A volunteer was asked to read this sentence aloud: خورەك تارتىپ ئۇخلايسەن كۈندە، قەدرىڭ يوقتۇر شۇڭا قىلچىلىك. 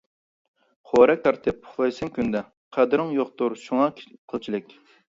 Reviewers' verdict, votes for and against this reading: rejected, 0, 2